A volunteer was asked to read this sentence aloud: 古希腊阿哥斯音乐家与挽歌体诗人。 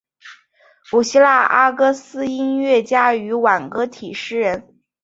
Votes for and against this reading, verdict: 2, 0, accepted